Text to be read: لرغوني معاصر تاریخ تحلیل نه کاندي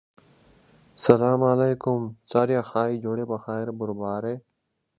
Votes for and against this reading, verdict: 0, 2, rejected